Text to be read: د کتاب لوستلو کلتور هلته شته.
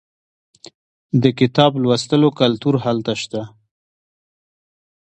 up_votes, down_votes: 0, 2